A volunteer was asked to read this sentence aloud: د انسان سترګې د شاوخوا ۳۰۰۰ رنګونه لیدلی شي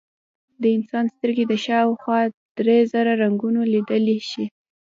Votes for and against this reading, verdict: 0, 2, rejected